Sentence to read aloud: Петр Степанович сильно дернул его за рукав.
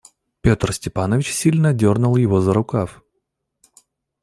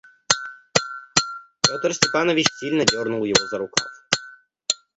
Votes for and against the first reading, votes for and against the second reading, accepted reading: 2, 0, 0, 2, first